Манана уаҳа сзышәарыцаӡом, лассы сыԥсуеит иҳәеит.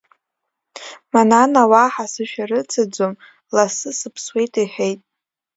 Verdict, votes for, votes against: accepted, 2, 1